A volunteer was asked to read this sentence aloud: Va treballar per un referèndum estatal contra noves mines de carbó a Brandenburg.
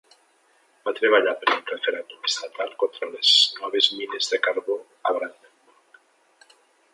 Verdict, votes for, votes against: rejected, 0, 2